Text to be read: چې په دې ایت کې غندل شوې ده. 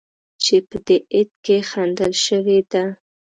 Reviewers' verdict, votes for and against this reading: rejected, 0, 2